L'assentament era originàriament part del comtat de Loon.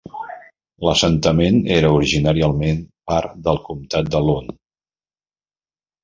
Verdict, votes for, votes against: rejected, 0, 2